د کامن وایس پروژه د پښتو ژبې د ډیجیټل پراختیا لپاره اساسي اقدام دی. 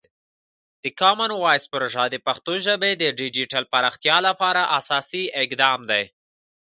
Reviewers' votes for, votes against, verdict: 1, 2, rejected